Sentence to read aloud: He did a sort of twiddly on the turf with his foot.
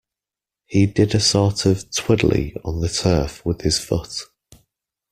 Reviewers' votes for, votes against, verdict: 0, 2, rejected